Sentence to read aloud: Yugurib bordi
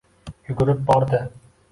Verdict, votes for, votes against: accepted, 2, 0